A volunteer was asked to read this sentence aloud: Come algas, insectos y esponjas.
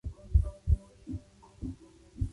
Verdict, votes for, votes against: rejected, 0, 2